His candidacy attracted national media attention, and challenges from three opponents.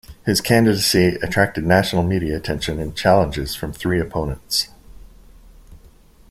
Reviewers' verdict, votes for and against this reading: accepted, 2, 0